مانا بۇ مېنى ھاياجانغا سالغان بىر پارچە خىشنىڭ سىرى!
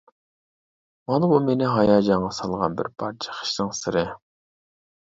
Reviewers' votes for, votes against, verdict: 2, 0, accepted